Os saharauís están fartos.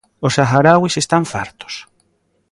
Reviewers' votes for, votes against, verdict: 0, 2, rejected